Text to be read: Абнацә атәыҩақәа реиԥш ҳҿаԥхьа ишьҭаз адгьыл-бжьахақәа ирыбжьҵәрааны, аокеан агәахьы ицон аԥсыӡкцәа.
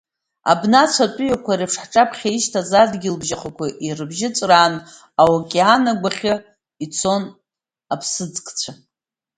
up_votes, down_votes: 2, 0